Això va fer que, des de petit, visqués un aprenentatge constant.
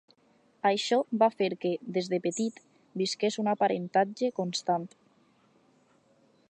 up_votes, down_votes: 2, 4